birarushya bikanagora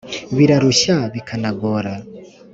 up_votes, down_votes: 3, 0